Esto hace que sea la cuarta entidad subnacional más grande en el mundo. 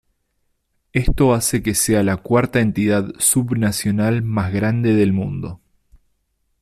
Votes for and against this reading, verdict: 0, 2, rejected